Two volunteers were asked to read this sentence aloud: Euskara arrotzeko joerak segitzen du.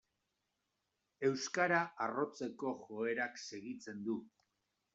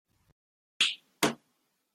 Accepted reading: first